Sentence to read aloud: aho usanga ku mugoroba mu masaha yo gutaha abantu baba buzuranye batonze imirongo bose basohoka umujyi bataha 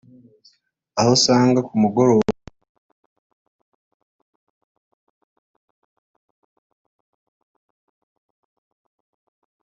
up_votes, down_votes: 0, 2